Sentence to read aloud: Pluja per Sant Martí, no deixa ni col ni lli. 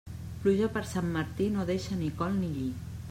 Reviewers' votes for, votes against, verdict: 2, 0, accepted